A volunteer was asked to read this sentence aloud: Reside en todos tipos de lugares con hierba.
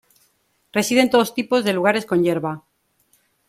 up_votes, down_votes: 2, 1